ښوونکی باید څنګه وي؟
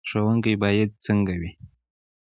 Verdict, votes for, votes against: rejected, 1, 2